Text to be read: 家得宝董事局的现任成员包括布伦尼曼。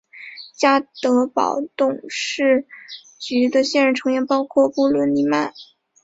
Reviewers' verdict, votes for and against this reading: accepted, 2, 1